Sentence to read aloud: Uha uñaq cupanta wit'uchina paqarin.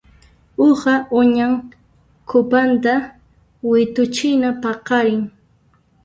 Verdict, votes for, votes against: rejected, 1, 2